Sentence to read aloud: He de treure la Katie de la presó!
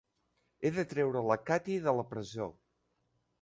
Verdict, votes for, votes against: accepted, 2, 0